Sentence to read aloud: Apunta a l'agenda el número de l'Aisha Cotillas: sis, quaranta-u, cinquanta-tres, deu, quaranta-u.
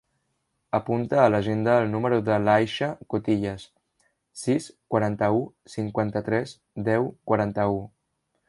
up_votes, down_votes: 3, 0